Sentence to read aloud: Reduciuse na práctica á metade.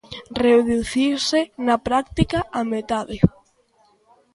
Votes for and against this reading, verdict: 2, 1, accepted